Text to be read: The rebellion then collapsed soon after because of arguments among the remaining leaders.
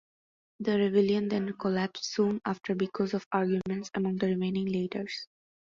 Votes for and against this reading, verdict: 2, 0, accepted